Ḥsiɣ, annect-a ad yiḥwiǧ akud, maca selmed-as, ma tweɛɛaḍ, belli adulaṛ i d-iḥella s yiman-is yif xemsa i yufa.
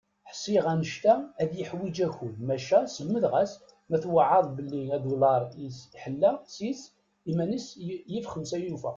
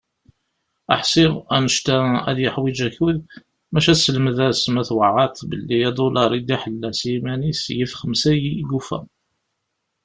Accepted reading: second